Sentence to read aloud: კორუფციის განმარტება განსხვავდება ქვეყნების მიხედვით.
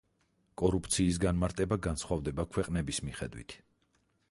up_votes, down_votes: 4, 0